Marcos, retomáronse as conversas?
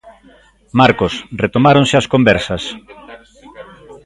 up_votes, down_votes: 2, 1